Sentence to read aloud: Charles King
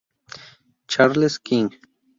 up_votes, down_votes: 0, 2